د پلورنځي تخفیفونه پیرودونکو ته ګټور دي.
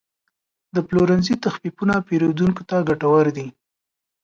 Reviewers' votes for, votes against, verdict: 2, 0, accepted